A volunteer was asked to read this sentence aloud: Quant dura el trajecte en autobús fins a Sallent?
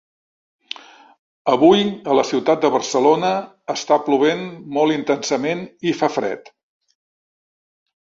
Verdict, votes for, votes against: rejected, 0, 2